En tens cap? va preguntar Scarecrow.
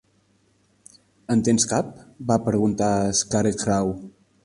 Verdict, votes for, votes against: rejected, 1, 2